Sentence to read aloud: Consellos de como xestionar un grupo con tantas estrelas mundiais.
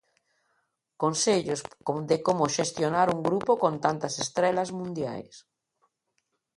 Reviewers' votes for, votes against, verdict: 2, 1, accepted